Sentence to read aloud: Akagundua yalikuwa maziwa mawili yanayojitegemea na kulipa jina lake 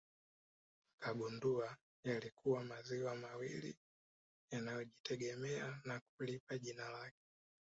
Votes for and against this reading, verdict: 1, 2, rejected